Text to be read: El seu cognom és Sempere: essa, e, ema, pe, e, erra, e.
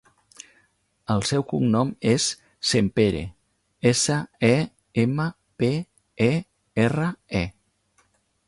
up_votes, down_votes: 3, 0